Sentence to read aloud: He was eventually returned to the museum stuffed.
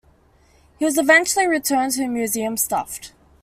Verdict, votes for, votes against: accepted, 2, 1